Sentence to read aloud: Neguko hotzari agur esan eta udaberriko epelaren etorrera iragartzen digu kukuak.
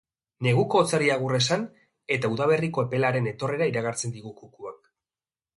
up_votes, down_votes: 2, 0